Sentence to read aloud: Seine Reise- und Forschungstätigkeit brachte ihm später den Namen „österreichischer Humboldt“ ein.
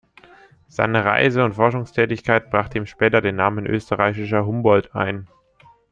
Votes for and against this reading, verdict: 2, 0, accepted